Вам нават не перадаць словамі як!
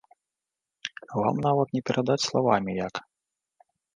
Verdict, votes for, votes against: rejected, 1, 2